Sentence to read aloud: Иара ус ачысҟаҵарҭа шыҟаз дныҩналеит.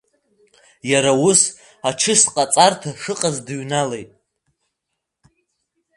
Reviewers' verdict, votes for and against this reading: rejected, 1, 2